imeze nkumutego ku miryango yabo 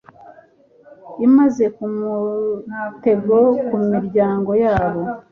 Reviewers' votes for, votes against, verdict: 1, 2, rejected